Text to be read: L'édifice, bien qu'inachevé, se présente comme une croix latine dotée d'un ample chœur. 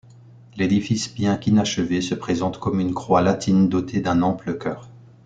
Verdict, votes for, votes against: accepted, 2, 0